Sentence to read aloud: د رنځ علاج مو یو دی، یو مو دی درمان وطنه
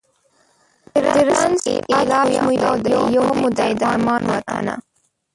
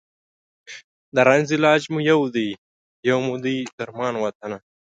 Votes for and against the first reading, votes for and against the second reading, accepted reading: 0, 2, 2, 0, second